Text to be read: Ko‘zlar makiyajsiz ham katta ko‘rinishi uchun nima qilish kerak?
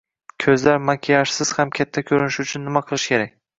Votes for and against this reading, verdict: 2, 0, accepted